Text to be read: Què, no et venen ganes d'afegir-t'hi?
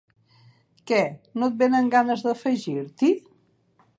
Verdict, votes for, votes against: accepted, 2, 0